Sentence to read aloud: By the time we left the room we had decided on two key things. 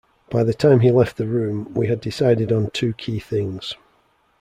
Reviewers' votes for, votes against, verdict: 1, 2, rejected